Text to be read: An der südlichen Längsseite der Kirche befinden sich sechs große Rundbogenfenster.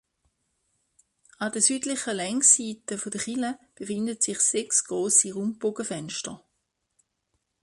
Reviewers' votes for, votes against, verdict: 0, 2, rejected